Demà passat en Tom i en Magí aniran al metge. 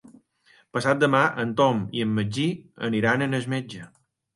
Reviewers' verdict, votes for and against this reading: rejected, 0, 2